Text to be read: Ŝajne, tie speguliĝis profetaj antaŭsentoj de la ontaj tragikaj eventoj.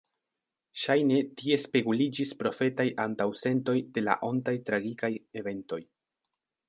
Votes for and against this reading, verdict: 2, 0, accepted